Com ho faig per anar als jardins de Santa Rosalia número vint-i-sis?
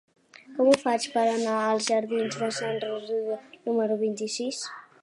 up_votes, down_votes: 0, 2